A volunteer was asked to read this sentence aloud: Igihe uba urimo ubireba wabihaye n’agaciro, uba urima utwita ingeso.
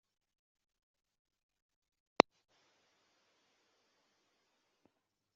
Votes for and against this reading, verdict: 0, 2, rejected